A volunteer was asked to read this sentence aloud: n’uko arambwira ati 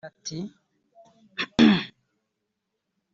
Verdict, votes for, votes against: rejected, 0, 3